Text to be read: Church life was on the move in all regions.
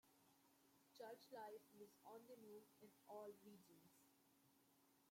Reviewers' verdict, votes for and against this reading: rejected, 0, 2